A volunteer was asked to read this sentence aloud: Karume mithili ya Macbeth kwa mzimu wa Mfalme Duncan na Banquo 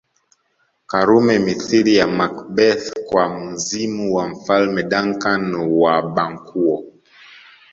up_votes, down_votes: 1, 2